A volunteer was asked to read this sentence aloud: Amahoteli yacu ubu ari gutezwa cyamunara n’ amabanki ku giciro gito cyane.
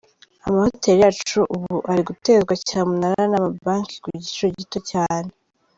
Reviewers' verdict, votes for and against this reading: accepted, 2, 0